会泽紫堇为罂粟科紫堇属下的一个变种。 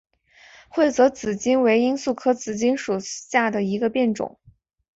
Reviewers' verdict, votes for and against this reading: accepted, 4, 0